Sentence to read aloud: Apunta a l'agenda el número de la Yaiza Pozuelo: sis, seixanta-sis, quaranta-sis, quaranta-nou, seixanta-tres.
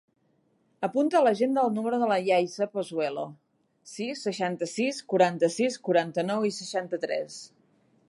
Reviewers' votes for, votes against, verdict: 1, 2, rejected